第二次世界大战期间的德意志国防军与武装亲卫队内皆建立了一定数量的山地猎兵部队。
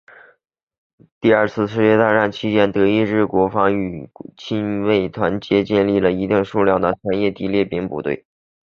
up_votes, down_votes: 0, 2